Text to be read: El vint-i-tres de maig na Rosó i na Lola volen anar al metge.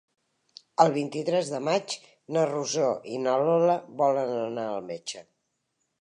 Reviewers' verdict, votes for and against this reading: accepted, 3, 0